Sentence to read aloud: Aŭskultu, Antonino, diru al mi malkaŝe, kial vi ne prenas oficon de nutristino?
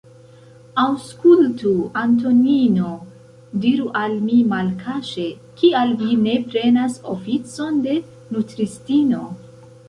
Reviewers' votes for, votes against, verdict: 1, 2, rejected